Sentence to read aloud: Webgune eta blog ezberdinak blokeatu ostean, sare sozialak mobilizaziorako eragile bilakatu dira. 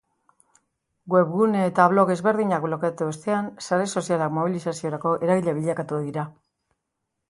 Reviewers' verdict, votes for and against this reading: accepted, 2, 0